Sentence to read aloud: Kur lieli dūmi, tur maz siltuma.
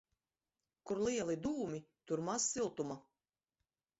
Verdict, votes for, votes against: rejected, 0, 2